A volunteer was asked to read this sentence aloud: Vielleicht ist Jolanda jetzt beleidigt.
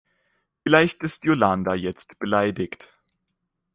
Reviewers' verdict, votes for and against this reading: rejected, 1, 2